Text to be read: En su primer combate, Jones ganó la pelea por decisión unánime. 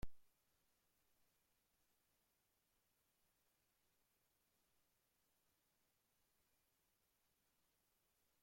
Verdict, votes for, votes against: rejected, 0, 2